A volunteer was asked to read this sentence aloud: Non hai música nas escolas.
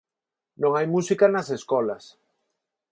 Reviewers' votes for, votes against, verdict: 4, 0, accepted